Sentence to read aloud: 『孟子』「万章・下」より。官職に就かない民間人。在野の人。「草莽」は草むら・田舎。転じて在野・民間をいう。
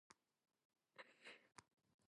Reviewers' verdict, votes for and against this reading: rejected, 0, 2